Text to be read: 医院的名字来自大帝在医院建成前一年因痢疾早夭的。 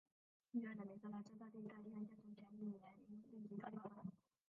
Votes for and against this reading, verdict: 0, 2, rejected